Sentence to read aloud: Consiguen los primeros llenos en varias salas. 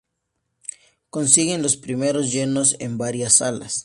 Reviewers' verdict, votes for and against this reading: accepted, 2, 0